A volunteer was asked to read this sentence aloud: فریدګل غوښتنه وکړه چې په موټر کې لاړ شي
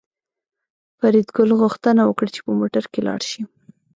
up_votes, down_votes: 1, 2